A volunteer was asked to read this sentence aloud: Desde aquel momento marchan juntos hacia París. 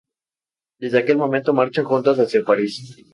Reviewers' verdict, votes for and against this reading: accepted, 2, 0